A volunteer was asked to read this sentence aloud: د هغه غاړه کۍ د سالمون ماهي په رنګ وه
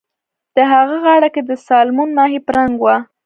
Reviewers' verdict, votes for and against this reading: rejected, 1, 2